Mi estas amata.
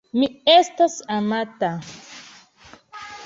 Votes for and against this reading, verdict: 2, 1, accepted